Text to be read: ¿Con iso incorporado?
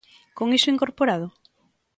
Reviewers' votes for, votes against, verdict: 2, 0, accepted